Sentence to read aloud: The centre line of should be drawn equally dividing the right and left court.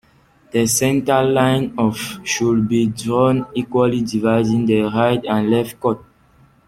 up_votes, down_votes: 2, 1